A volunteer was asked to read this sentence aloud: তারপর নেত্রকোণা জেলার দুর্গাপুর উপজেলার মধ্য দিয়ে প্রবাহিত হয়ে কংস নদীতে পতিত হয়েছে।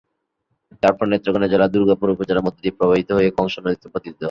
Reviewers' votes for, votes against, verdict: 0, 2, rejected